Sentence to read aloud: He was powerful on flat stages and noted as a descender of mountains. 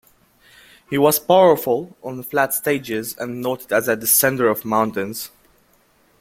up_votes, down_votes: 2, 0